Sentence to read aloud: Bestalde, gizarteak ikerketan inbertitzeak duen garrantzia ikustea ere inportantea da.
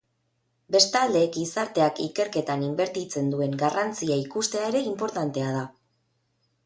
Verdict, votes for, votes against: rejected, 2, 4